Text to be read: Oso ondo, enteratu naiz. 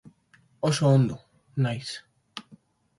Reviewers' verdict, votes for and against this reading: rejected, 0, 3